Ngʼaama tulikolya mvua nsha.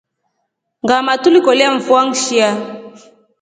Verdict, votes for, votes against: accepted, 2, 0